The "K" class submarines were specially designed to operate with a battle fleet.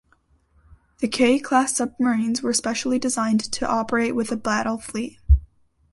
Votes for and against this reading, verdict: 2, 0, accepted